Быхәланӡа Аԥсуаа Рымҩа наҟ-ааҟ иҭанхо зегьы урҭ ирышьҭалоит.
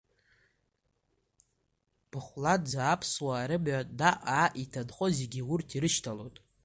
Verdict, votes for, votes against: rejected, 0, 2